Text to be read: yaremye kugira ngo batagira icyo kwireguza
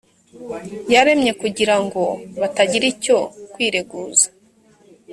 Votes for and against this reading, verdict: 2, 0, accepted